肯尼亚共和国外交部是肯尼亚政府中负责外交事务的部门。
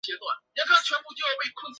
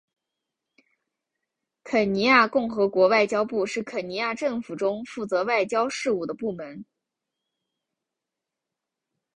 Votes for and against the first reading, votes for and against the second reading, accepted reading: 0, 2, 4, 1, second